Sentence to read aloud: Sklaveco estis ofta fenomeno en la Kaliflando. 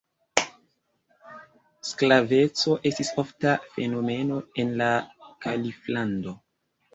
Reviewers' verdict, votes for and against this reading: rejected, 0, 2